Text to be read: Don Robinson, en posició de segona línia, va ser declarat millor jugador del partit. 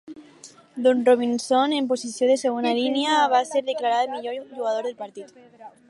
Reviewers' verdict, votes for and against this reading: rejected, 0, 4